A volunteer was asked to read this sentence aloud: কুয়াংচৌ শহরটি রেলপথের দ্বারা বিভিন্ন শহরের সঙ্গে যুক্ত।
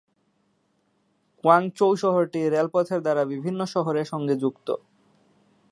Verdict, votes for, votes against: accepted, 10, 0